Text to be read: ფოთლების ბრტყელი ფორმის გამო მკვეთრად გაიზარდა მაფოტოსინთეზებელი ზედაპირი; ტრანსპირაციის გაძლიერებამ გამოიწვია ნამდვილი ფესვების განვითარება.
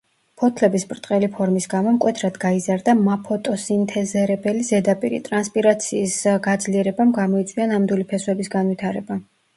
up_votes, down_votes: 1, 2